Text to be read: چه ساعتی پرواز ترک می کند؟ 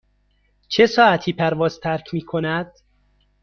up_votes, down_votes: 2, 0